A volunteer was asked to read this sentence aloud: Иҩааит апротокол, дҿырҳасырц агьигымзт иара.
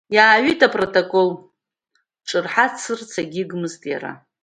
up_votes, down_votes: 1, 2